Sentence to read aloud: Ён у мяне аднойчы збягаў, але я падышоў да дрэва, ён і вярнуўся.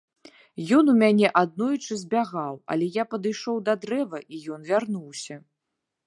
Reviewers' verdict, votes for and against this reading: rejected, 1, 2